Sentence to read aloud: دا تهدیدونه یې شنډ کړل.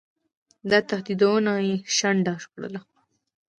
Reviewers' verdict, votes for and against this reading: accepted, 2, 0